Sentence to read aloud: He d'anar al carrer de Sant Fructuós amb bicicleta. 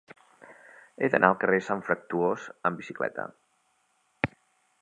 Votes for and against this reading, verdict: 1, 2, rejected